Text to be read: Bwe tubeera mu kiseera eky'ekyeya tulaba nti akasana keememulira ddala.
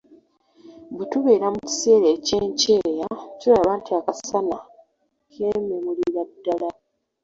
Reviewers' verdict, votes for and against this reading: rejected, 0, 2